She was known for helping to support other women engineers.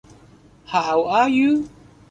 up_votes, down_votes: 1, 2